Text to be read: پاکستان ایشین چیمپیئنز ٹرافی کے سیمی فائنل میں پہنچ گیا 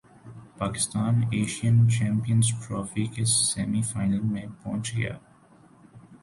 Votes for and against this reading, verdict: 2, 0, accepted